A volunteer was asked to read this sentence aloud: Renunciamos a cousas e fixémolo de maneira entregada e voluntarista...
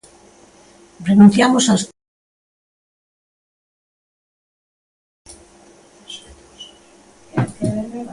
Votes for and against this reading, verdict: 0, 2, rejected